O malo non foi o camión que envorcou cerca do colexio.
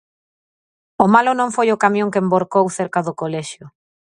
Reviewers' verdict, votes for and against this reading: accepted, 4, 0